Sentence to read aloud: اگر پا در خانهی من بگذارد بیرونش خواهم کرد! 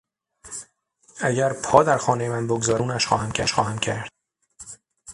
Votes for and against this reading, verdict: 0, 6, rejected